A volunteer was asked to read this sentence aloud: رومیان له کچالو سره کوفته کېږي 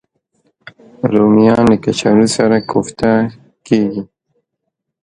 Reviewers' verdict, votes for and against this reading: rejected, 0, 2